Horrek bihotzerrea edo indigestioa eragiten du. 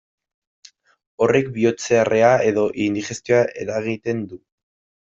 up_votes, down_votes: 2, 1